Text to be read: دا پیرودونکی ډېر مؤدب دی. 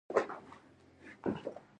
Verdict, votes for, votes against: rejected, 0, 2